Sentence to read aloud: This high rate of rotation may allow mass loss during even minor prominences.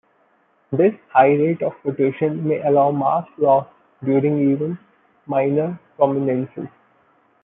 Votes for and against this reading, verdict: 2, 1, accepted